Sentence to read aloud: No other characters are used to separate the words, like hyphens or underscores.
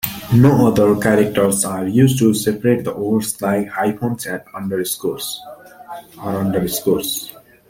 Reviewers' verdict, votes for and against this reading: rejected, 1, 2